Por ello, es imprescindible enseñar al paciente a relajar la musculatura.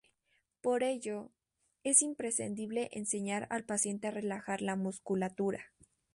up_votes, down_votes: 2, 0